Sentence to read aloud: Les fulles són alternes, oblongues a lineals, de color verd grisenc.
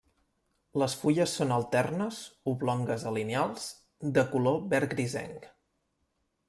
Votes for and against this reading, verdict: 1, 2, rejected